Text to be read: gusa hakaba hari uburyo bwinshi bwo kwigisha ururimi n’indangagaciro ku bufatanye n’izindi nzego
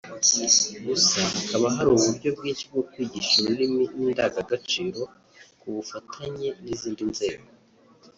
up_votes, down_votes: 0, 2